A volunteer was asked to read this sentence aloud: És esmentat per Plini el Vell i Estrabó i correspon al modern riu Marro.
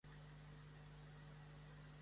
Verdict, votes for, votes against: rejected, 0, 2